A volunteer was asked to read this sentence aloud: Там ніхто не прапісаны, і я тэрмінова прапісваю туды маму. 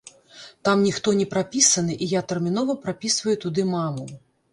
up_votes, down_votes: 2, 0